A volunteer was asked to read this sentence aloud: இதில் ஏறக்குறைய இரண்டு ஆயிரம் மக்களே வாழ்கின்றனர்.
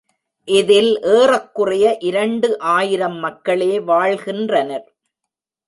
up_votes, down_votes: 0, 2